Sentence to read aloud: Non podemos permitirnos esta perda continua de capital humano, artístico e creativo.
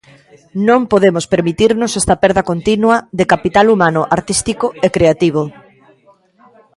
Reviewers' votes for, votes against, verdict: 1, 2, rejected